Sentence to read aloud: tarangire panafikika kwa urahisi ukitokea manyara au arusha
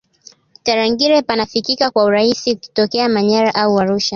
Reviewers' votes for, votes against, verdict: 1, 2, rejected